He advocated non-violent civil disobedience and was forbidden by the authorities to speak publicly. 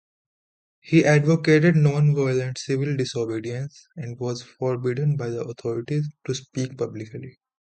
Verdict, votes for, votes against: accepted, 2, 0